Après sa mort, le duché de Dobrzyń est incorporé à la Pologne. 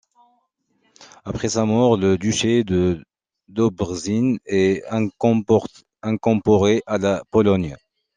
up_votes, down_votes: 0, 2